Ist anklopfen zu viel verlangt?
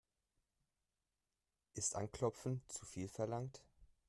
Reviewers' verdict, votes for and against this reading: accepted, 3, 0